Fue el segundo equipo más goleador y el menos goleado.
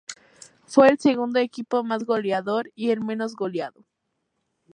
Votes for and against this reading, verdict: 2, 0, accepted